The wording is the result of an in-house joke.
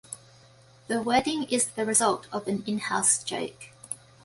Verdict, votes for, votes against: accepted, 2, 0